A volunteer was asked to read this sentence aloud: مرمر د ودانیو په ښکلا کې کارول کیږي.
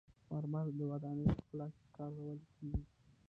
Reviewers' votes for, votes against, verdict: 1, 2, rejected